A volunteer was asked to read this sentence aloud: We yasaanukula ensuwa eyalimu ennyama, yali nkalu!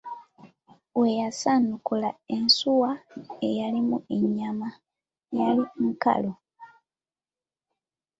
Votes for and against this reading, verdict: 2, 0, accepted